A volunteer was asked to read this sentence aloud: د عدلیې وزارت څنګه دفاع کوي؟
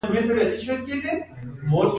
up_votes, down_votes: 1, 2